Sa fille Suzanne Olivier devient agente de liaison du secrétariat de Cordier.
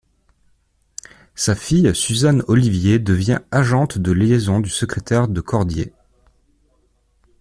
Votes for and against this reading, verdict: 1, 2, rejected